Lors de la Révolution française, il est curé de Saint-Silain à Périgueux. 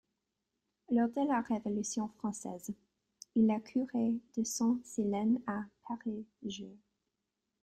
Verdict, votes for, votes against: rejected, 0, 2